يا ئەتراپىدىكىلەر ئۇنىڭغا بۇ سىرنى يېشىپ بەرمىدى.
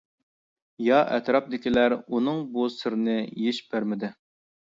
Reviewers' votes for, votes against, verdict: 1, 2, rejected